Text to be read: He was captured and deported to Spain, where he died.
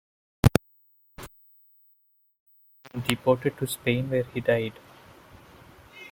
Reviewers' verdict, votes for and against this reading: rejected, 1, 2